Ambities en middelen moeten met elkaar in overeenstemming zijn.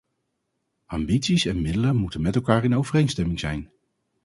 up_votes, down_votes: 4, 0